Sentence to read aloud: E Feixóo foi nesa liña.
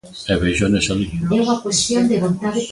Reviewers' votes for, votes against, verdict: 0, 2, rejected